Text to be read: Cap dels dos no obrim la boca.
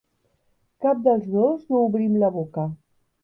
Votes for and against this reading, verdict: 3, 0, accepted